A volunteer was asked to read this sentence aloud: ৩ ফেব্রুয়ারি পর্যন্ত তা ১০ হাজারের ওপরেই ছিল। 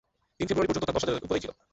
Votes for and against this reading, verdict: 0, 2, rejected